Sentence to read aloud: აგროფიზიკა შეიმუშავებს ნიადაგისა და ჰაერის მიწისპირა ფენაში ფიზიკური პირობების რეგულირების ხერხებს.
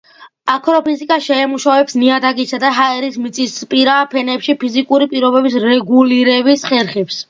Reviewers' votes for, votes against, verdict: 0, 2, rejected